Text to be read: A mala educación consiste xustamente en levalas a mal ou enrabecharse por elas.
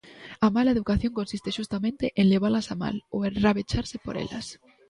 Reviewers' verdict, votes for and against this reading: accepted, 2, 0